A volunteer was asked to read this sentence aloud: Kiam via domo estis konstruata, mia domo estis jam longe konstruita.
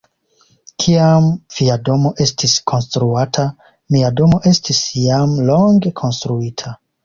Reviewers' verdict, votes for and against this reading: accepted, 2, 0